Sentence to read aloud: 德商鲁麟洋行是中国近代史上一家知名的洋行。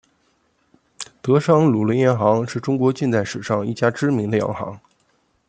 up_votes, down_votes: 2, 0